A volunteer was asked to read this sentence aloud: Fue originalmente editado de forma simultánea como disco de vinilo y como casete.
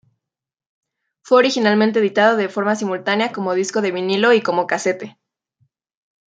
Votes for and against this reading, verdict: 2, 1, accepted